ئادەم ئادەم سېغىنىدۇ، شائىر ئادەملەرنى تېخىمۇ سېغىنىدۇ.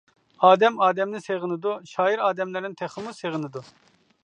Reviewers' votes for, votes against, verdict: 1, 2, rejected